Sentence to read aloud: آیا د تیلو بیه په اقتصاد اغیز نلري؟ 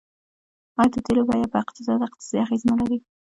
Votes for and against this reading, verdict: 0, 2, rejected